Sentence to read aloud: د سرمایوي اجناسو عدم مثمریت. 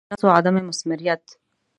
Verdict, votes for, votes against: rejected, 0, 2